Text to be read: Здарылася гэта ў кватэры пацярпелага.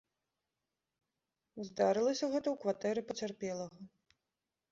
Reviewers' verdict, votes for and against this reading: accepted, 2, 0